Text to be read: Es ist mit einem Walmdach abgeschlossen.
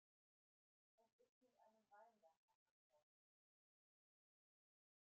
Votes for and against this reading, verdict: 0, 2, rejected